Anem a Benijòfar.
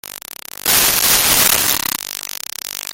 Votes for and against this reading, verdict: 0, 2, rejected